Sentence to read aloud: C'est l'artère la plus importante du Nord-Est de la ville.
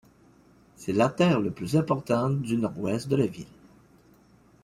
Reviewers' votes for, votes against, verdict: 2, 1, accepted